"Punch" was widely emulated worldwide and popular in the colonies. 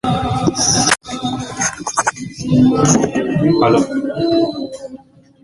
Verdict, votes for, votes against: rejected, 0, 2